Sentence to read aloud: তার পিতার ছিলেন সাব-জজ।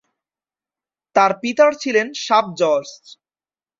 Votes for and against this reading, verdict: 2, 1, accepted